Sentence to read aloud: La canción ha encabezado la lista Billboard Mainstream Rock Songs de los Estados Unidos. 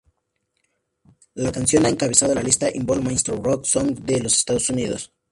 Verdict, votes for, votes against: rejected, 0, 4